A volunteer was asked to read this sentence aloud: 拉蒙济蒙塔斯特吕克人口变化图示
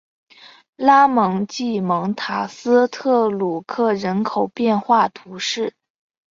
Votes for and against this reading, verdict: 5, 0, accepted